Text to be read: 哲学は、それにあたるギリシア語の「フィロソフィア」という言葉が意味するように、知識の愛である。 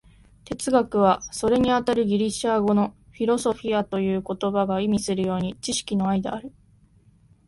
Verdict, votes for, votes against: accepted, 8, 2